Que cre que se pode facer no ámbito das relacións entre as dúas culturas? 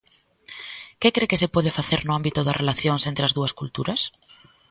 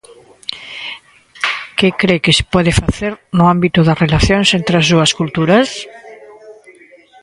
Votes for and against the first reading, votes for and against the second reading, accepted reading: 2, 0, 1, 2, first